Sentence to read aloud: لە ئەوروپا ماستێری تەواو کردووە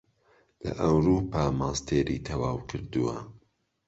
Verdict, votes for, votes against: accepted, 2, 0